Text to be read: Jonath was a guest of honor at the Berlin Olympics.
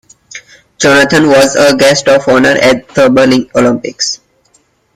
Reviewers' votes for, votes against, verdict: 1, 2, rejected